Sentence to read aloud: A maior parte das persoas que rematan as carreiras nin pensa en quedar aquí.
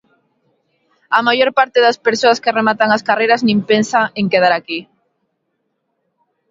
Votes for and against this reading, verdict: 2, 0, accepted